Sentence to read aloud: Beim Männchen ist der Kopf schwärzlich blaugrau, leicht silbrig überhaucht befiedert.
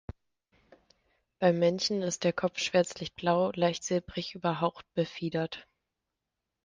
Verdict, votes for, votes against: rejected, 1, 2